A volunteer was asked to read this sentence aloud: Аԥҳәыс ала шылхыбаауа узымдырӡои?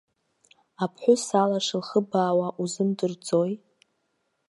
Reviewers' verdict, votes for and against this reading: rejected, 1, 2